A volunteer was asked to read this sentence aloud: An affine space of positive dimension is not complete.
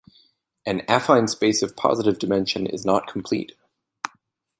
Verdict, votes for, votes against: accepted, 2, 0